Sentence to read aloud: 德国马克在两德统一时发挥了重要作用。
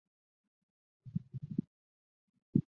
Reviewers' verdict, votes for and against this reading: rejected, 0, 4